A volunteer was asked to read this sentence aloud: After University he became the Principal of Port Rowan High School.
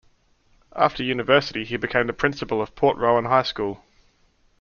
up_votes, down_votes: 2, 0